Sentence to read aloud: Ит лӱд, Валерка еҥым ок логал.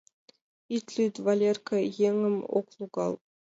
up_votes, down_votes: 3, 2